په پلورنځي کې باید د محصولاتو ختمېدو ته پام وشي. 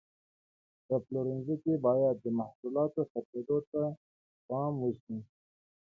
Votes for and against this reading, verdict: 1, 2, rejected